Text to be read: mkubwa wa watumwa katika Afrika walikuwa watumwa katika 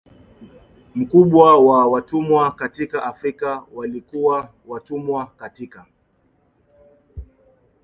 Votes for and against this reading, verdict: 0, 2, rejected